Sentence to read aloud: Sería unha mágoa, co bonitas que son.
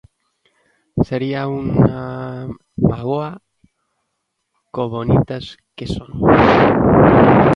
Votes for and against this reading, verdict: 0, 2, rejected